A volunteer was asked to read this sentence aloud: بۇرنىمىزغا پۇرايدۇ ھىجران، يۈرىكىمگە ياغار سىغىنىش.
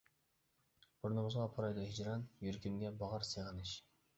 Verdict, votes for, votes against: rejected, 0, 2